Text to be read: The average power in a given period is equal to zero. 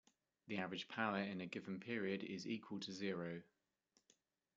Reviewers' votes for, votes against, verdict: 2, 0, accepted